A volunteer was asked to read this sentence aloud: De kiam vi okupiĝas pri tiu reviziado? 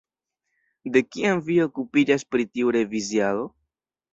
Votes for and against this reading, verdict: 1, 2, rejected